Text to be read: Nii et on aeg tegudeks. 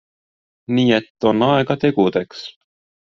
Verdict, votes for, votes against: rejected, 0, 2